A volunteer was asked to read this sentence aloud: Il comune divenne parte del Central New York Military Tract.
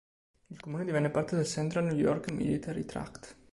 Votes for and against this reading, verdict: 2, 0, accepted